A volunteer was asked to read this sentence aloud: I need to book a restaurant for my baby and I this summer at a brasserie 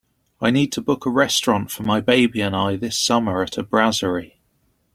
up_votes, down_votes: 2, 0